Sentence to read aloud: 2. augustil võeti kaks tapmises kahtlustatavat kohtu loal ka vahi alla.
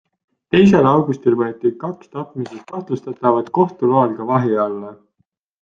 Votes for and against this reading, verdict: 0, 2, rejected